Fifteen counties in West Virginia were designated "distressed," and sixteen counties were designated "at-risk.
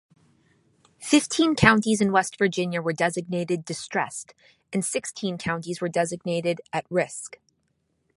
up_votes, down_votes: 2, 0